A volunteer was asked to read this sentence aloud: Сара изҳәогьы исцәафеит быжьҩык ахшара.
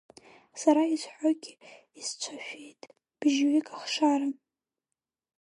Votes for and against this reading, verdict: 3, 4, rejected